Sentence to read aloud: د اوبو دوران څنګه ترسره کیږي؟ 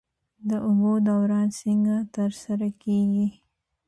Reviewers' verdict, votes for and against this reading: rejected, 2, 3